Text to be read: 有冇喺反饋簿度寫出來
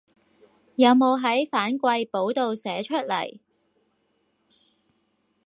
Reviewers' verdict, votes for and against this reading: accepted, 4, 0